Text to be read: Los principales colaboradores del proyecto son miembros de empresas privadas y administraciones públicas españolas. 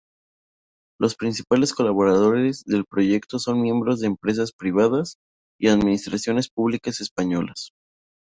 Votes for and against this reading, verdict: 2, 4, rejected